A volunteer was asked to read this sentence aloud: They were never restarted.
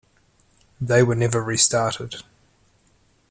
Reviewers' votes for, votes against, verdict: 2, 0, accepted